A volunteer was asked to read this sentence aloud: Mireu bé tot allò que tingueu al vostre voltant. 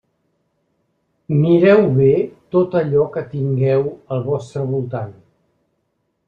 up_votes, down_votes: 3, 0